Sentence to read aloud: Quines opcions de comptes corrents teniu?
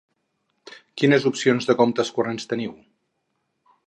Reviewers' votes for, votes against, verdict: 2, 0, accepted